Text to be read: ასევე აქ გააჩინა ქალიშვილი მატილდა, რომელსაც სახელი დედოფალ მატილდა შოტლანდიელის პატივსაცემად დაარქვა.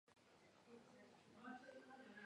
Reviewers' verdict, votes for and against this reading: rejected, 0, 2